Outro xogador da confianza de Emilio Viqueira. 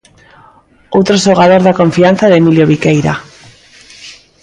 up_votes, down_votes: 2, 0